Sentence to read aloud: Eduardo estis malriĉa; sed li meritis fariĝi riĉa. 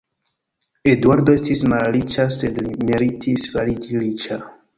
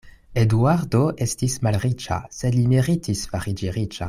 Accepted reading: second